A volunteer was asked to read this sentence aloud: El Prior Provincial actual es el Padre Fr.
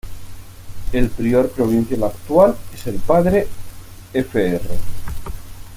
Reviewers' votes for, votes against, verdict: 1, 2, rejected